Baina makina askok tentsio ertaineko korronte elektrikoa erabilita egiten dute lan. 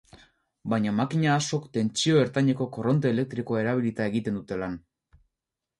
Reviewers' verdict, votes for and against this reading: accepted, 2, 0